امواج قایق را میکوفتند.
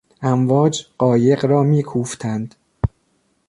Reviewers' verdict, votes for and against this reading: accepted, 2, 0